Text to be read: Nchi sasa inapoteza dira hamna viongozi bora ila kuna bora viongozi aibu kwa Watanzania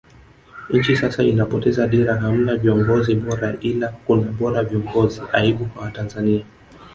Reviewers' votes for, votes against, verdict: 2, 0, accepted